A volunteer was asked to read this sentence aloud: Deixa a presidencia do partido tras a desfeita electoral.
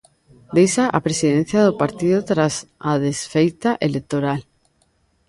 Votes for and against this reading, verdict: 0, 2, rejected